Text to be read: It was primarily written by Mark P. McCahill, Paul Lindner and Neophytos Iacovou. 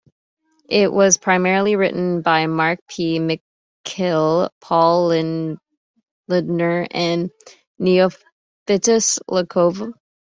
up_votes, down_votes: 0, 2